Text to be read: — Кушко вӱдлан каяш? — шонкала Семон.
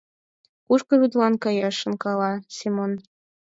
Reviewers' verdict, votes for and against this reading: accepted, 4, 2